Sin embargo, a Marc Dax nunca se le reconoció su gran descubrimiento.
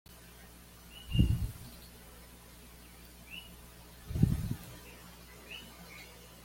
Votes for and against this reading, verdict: 1, 2, rejected